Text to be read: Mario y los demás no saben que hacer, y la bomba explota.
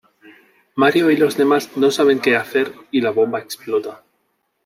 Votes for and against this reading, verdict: 7, 0, accepted